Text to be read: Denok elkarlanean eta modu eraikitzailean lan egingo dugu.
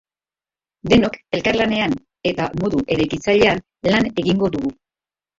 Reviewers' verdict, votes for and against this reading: rejected, 0, 2